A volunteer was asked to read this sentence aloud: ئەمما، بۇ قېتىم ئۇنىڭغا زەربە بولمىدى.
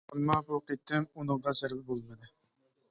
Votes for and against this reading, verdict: 1, 2, rejected